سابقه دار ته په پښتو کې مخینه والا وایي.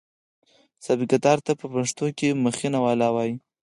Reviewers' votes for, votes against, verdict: 4, 0, accepted